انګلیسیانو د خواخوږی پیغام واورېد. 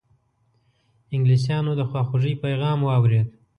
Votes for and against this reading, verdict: 1, 2, rejected